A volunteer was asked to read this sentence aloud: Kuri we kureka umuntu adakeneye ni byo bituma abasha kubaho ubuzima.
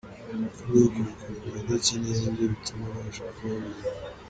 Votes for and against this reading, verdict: 0, 2, rejected